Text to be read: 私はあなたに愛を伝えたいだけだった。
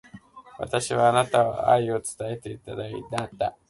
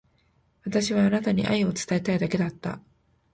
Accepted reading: second